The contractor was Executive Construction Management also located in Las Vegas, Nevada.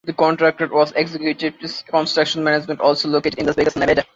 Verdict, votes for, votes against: rejected, 0, 2